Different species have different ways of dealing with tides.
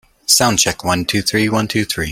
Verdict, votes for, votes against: rejected, 0, 2